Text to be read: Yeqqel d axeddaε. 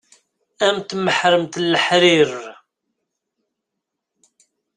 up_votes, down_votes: 0, 2